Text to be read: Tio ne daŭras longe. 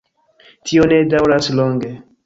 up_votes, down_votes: 3, 1